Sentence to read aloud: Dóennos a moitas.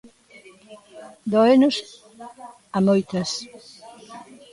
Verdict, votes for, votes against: rejected, 1, 2